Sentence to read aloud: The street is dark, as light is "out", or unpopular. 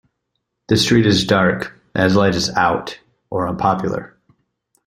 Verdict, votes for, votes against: accepted, 2, 0